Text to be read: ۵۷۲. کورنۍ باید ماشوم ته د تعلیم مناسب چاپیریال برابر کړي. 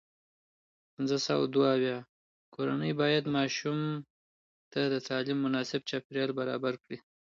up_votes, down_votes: 0, 2